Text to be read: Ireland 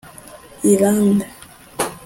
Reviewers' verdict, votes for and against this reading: rejected, 0, 2